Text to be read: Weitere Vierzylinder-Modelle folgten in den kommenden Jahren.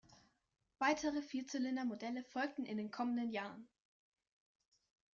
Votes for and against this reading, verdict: 2, 0, accepted